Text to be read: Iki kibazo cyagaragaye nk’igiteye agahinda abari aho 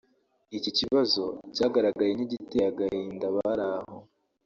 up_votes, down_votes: 0, 2